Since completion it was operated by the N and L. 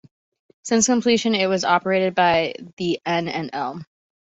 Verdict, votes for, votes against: accepted, 2, 0